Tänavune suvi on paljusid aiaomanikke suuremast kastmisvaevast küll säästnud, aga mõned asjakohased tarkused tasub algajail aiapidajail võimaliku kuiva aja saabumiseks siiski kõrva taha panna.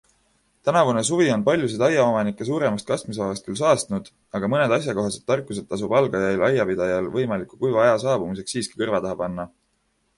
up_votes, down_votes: 1, 2